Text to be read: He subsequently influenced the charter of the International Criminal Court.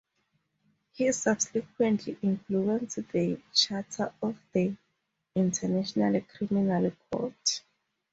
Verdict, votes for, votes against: accepted, 4, 0